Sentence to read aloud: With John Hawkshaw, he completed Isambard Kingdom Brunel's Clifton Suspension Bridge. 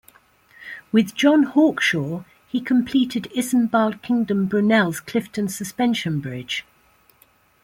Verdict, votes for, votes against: rejected, 1, 2